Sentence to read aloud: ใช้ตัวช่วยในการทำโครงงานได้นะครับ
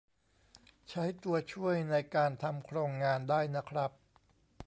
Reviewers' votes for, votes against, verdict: 2, 0, accepted